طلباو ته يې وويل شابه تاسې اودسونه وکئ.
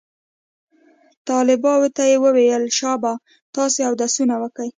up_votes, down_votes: 2, 0